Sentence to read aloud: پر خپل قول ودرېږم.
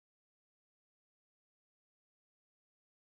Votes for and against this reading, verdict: 0, 2, rejected